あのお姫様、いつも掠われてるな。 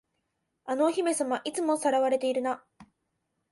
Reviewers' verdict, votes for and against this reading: accepted, 5, 0